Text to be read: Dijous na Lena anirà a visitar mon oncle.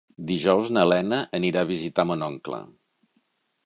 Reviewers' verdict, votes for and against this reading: accepted, 3, 0